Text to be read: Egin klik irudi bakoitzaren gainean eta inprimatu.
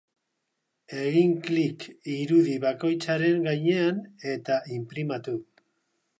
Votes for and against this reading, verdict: 3, 0, accepted